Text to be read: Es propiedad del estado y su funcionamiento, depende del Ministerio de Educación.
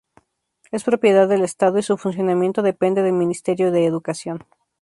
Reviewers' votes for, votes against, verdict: 4, 0, accepted